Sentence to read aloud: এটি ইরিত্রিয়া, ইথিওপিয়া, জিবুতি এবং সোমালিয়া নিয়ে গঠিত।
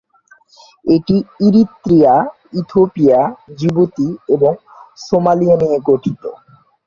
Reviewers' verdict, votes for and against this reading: rejected, 0, 2